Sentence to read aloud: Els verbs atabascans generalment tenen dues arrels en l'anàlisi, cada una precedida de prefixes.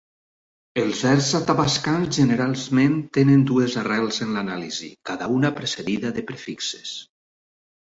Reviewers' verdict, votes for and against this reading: rejected, 2, 4